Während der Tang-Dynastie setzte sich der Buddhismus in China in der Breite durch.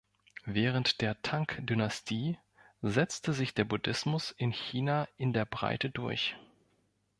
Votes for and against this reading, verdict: 0, 2, rejected